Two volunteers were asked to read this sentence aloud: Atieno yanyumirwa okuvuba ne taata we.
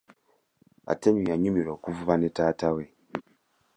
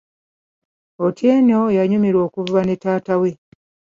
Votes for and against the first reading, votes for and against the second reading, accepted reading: 2, 0, 1, 2, first